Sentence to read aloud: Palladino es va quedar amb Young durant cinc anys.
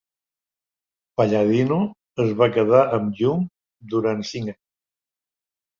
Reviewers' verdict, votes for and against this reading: rejected, 1, 3